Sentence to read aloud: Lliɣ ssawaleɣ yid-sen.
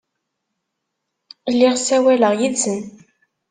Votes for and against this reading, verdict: 2, 0, accepted